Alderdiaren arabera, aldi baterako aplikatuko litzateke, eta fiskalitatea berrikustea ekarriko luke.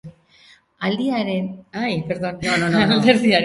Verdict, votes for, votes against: rejected, 0, 2